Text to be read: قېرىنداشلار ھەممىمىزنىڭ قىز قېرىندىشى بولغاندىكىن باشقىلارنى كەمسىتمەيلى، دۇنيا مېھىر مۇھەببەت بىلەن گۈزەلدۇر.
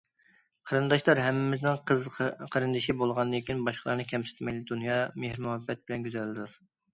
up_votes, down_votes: 0, 2